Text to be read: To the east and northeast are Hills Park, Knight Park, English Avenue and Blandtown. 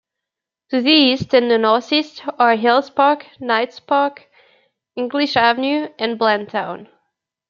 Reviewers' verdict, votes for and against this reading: rejected, 0, 2